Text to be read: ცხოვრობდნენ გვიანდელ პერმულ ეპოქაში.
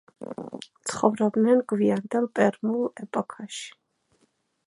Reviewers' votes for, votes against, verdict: 2, 0, accepted